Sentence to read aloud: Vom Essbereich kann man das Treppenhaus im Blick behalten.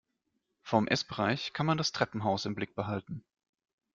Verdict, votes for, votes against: accepted, 2, 0